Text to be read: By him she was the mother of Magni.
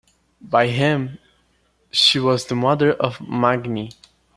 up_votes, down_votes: 2, 0